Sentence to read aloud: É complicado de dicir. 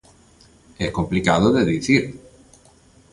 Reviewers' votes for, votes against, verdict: 2, 0, accepted